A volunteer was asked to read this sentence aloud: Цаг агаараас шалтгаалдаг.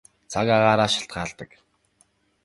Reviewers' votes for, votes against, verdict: 3, 0, accepted